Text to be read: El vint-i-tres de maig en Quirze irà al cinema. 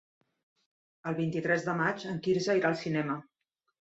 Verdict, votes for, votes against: accepted, 3, 1